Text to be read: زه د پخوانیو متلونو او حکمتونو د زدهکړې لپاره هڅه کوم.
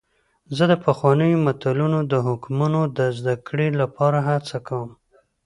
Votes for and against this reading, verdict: 2, 0, accepted